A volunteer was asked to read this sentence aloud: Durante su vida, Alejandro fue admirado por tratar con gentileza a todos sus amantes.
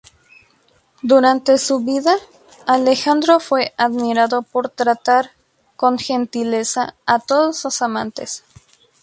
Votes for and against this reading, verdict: 0, 2, rejected